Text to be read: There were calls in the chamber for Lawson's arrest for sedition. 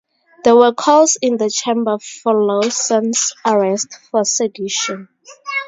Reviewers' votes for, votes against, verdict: 2, 0, accepted